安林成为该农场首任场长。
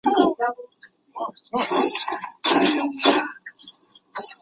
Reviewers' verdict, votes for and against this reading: rejected, 0, 2